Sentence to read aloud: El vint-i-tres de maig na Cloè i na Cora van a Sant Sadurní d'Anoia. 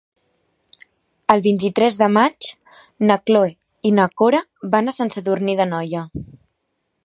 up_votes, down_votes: 2, 0